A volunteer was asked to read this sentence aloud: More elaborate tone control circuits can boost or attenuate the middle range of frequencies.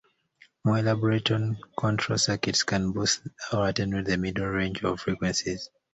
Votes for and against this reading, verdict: 2, 0, accepted